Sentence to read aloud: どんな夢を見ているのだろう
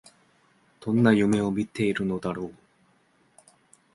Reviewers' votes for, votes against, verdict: 2, 0, accepted